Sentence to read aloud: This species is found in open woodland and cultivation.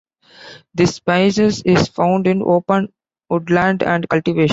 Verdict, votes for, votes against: accepted, 2, 1